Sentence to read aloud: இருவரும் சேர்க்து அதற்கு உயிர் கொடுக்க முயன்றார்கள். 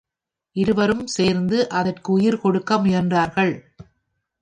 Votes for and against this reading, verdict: 1, 2, rejected